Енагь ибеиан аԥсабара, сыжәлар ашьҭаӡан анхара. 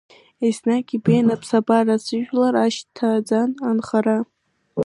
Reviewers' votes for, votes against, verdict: 0, 2, rejected